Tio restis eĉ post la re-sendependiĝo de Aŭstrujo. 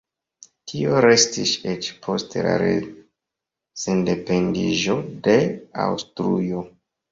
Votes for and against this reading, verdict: 0, 2, rejected